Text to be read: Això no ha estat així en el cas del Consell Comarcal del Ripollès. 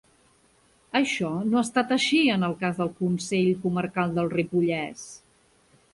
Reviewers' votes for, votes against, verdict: 1, 2, rejected